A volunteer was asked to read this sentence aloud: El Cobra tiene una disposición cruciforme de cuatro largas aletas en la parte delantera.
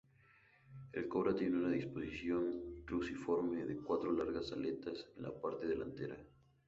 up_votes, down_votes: 2, 0